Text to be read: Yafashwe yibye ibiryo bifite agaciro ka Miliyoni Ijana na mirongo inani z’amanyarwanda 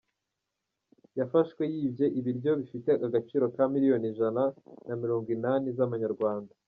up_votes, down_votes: 2, 1